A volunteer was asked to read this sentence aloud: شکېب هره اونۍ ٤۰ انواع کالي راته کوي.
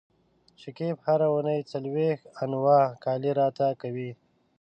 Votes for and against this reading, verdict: 0, 2, rejected